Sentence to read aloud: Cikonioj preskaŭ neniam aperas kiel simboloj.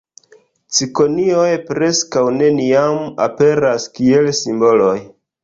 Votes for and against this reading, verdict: 0, 2, rejected